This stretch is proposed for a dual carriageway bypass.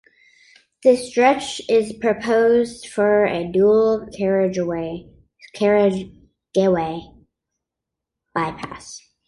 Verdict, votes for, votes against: rejected, 0, 2